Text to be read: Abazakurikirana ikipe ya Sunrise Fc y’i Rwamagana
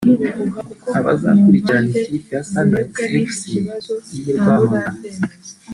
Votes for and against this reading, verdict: 2, 0, accepted